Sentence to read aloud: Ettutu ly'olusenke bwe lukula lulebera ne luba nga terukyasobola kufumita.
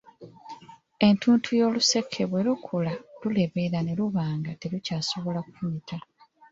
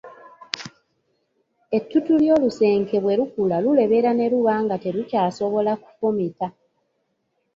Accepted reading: second